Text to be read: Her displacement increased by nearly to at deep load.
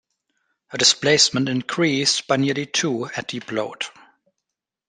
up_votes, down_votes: 2, 1